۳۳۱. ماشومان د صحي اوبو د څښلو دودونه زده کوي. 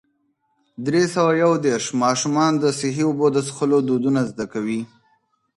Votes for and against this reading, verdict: 0, 2, rejected